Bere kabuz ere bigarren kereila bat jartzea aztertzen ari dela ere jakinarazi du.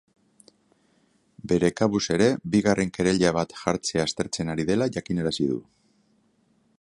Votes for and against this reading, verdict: 9, 0, accepted